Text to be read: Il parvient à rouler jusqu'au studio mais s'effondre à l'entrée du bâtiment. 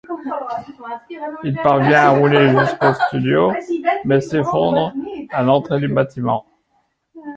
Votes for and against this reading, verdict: 0, 2, rejected